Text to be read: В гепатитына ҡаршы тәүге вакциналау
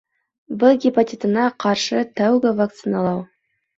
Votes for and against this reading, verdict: 2, 0, accepted